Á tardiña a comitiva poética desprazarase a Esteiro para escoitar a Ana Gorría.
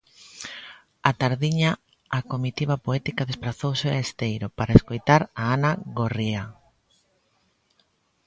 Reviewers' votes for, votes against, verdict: 0, 2, rejected